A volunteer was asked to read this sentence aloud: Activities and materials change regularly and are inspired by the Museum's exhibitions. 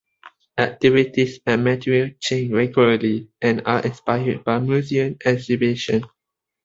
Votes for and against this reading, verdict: 1, 2, rejected